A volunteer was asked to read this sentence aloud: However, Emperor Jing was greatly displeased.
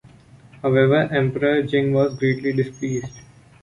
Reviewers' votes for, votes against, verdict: 2, 0, accepted